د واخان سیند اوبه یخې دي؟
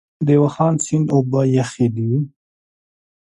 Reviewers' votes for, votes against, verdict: 2, 0, accepted